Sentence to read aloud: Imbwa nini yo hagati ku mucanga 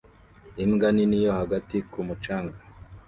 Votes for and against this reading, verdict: 2, 0, accepted